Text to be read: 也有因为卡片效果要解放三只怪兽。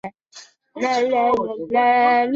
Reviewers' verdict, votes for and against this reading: rejected, 0, 2